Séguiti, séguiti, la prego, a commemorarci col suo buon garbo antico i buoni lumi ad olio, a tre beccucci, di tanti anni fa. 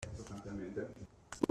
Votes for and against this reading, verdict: 0, 2, rejected